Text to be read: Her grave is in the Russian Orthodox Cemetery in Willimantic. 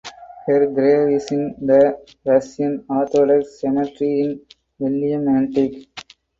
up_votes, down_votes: 4, 2